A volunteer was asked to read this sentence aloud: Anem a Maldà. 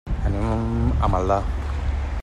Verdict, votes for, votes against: rejected, 1, 2